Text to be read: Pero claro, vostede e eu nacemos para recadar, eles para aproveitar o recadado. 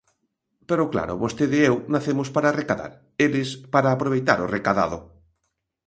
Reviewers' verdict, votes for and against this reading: accepted, 2, 0